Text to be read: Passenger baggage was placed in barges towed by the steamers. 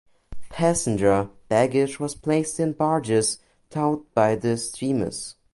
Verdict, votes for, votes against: accepted, 2, 1